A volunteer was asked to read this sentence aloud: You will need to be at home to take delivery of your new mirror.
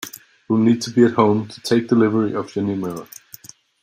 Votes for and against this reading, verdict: 2, 0, accepted